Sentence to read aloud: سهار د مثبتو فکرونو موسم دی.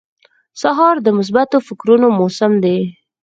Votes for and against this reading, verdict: 6, 0, accepted